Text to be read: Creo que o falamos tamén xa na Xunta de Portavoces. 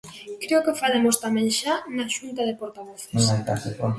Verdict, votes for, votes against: rejected, 0, 2